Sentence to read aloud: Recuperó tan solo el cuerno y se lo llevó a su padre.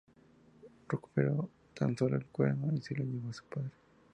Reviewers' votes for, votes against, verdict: 2, 0, accepted